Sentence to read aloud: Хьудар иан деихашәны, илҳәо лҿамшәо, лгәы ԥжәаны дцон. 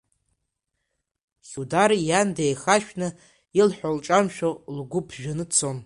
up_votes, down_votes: 1, 2